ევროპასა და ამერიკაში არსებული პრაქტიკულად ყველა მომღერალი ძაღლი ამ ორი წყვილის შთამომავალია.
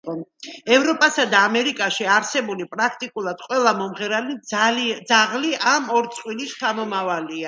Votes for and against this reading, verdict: 1, 2, rejected